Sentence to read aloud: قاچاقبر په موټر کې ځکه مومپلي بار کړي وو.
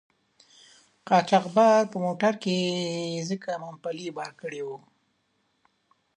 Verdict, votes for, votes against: accepted, 2, 0